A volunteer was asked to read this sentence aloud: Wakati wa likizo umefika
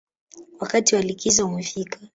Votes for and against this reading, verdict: 2, 0, accepted